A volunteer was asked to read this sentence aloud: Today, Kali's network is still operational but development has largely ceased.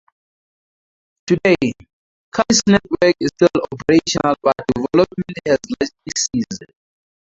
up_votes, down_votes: 0, 2